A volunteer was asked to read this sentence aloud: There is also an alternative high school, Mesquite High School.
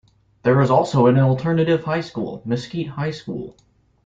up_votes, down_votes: 2, 1